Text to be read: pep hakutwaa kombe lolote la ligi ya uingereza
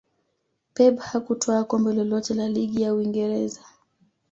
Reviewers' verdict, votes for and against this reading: accepted, 2, 1